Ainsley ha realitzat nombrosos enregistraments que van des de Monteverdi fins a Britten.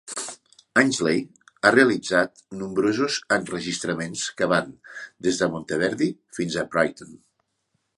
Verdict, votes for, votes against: rejected, 1, 2